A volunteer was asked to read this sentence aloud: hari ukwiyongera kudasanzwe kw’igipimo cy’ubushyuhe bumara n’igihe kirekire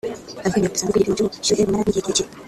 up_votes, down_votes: 0, 2